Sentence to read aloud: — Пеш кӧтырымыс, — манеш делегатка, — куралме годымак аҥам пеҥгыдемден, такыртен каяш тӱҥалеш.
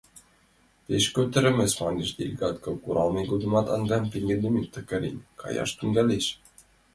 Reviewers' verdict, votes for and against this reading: rejected, 1, 2